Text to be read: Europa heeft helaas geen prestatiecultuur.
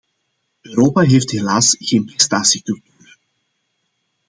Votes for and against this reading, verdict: 0, 2, rejected